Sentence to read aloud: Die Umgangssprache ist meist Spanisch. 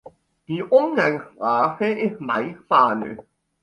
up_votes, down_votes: 3, 2